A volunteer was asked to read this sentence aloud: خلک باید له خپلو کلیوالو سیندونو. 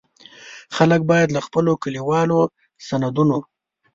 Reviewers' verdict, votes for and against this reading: rejected, 0, 2